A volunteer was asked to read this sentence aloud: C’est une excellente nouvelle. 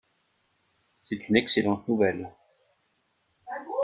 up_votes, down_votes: 1, 2